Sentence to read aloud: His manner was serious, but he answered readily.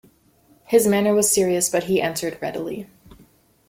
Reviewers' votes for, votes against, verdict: 2, 0, accepted